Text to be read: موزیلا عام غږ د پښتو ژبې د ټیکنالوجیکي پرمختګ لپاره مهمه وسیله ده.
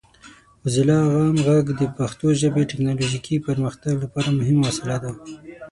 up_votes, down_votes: 6, 9